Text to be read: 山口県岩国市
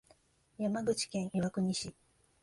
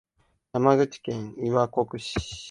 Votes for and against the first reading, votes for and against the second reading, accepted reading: 2, 0, 0, 2, first